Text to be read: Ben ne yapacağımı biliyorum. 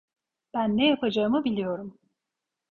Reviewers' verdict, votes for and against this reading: accepted, 2, 0